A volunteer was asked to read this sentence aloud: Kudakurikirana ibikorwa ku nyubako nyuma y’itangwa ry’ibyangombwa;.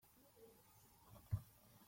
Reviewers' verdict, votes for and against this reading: rejected, 0, 2